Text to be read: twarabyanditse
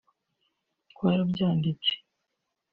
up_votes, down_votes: 2, 0